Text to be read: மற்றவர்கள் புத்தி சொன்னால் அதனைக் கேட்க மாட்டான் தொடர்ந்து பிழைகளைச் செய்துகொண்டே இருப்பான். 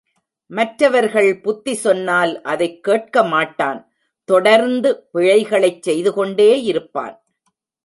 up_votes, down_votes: 1, 2